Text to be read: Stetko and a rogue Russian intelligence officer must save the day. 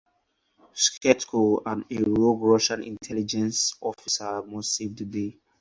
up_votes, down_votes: 0, 2